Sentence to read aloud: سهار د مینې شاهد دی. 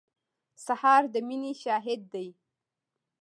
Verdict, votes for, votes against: accepted, 2, 0